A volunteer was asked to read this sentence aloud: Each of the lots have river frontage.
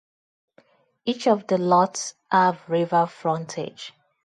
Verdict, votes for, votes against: accepted, 2, 0